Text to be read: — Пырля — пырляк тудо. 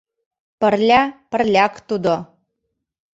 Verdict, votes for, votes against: accepted, 2, 0